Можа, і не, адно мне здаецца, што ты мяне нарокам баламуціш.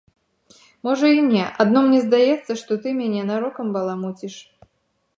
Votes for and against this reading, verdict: 3, 0, accepted